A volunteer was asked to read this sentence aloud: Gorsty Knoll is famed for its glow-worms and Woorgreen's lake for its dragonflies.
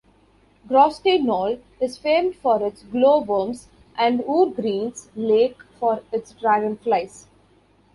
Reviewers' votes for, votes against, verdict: 2, 0, accepted